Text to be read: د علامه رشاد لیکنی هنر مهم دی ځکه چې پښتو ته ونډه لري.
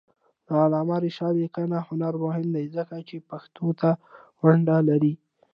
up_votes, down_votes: 2, 0